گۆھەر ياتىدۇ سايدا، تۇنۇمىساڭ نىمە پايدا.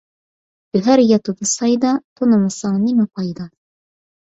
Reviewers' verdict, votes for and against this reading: rejected, 1, 2